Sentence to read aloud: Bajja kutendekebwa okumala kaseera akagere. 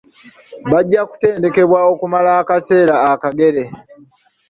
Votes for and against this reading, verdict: 0, 2, rejected